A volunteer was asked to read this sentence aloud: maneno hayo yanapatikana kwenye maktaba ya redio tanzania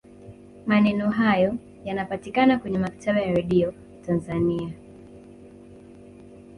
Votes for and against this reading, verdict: 1, 2, rejected